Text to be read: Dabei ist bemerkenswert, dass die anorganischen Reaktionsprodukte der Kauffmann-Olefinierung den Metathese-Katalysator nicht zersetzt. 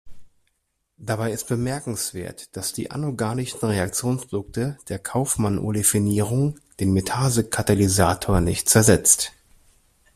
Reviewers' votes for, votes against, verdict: 1, 2, rejected